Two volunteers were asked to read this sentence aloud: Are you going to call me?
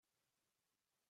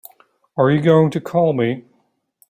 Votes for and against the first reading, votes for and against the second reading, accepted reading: 0, 6, 4, 0, second